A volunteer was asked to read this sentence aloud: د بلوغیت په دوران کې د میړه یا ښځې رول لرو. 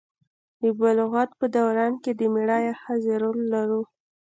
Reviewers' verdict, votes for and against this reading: rejected, 0, 2